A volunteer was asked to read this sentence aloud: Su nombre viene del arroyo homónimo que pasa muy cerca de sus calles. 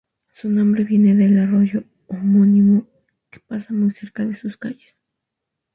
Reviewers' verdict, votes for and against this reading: rejected, 0, 2